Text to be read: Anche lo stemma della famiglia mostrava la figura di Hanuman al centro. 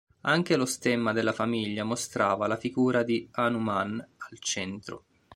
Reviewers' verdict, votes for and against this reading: accepted, 2, 0